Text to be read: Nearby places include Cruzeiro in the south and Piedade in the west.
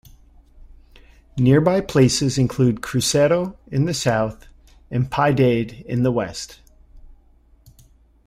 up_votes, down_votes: 2, 0